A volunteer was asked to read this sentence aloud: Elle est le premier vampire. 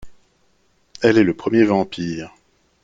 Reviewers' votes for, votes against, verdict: 2, 0, accepted